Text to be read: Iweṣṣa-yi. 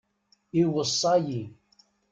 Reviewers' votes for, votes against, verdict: 2, 0, accepted